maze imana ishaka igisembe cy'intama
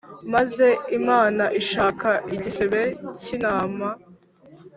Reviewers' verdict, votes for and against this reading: rejected, 1, 3